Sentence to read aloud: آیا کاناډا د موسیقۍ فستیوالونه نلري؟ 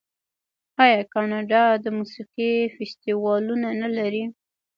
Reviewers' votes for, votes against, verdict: 1, 2, rejected